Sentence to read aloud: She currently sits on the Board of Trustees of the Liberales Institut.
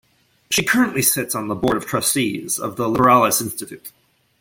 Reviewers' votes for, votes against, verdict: 0, 2, rejected